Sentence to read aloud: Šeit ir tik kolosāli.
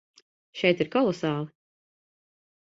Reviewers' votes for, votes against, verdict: 0, 2, rejected